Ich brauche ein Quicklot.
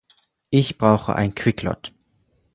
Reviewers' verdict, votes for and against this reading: accepted, 4, 0